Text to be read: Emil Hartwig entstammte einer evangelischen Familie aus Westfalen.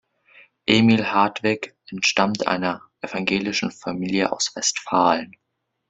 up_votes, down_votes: 1, 2